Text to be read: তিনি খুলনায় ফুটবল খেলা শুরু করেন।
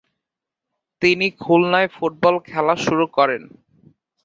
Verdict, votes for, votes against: accepted, 42, 3